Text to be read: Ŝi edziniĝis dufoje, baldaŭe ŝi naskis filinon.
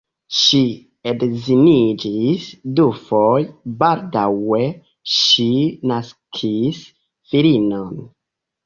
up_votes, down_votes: 0, 2